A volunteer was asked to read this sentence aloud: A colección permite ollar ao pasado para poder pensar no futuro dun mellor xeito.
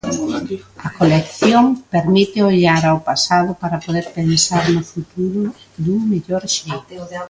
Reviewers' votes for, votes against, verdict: 1, 2, rejected